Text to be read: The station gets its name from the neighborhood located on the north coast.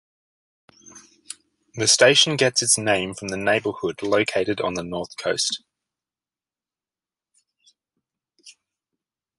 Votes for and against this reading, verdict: 2, 0, accepted